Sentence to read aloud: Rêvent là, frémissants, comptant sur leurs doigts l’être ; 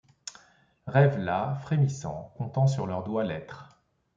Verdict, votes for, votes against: accepted, 2, 0